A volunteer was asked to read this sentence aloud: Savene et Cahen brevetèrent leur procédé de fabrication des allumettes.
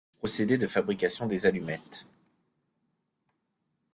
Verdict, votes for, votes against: rejected, 1, 2